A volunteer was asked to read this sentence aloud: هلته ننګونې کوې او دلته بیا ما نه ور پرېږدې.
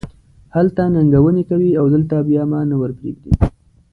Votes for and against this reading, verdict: 2, 0, accepted